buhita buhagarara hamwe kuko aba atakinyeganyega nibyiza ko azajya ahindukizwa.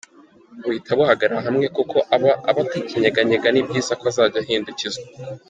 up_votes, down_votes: 1, 2